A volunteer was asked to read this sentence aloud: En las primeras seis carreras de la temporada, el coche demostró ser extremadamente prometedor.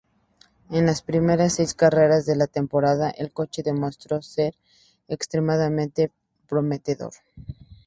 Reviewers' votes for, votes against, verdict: 2, 0, accepted